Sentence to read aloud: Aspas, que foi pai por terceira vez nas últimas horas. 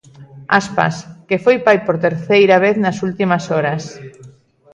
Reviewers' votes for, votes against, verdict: 2, 0, accepted